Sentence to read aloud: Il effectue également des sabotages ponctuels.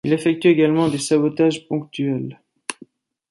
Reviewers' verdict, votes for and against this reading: accepted, 2, 0